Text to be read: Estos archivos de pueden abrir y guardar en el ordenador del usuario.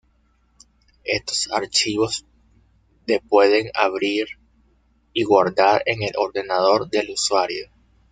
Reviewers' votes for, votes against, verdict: 1, 2, rejected